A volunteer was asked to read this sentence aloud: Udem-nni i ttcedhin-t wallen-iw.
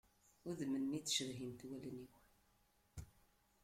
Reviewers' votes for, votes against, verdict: 0, 2, rejected